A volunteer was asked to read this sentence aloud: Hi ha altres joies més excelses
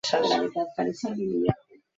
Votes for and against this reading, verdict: 0, 2, rejected